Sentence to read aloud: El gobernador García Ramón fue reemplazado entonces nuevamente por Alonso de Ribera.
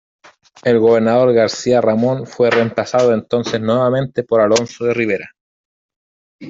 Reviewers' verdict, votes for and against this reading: accepted, 2, 1